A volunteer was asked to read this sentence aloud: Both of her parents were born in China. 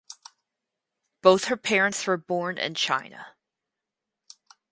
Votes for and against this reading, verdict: 2, 4, rejected